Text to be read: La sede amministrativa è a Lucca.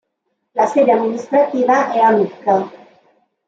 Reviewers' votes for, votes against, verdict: 1, 2, rejected